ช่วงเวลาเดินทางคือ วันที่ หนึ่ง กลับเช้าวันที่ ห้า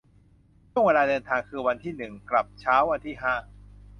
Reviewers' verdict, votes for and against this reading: accepted, 2, 0